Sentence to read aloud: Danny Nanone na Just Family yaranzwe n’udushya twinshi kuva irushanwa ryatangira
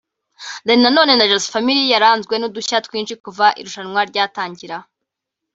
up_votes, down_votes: 1, 2